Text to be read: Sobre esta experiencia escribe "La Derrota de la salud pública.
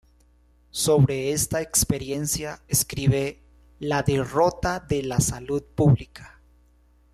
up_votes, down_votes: 2, 0